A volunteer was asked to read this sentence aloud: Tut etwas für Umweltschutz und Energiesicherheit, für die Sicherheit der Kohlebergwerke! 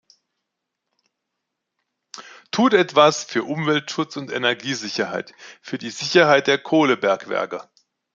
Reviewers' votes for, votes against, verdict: 2, 0, accepted